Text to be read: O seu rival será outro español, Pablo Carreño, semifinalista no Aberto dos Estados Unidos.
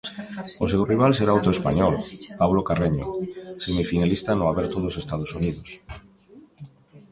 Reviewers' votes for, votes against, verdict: 1, 2, rejected